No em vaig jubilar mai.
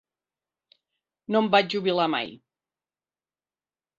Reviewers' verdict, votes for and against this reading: accepted, 2, 0